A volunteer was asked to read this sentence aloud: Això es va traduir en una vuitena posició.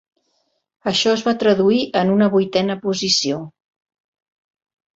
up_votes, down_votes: 2, 0